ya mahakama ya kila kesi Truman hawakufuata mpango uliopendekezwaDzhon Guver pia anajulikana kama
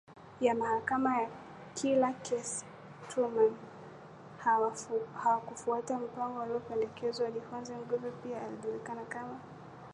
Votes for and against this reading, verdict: 5, 2, accepted